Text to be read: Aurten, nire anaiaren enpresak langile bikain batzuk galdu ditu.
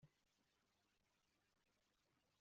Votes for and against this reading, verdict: 0, 2, rejected